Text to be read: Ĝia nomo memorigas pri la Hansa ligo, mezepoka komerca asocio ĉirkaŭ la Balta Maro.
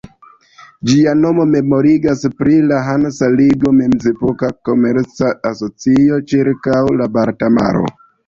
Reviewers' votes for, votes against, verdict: 0, 2, rejected